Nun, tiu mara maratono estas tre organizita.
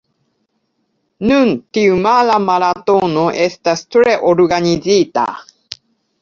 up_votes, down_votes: 2, 1